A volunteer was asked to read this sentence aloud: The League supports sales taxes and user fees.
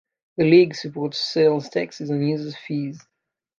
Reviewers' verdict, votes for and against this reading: rejected, 1, 2